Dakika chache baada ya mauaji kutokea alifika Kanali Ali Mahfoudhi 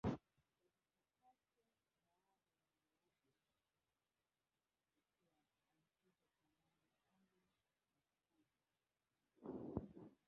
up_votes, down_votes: 0, 2